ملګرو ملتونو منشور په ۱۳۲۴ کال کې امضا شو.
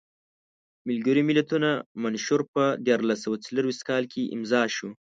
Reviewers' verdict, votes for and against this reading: rejected, 0, 2